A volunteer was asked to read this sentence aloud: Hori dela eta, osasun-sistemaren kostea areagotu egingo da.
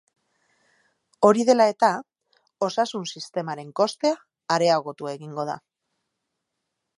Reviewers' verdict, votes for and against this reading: accepted, 2, 0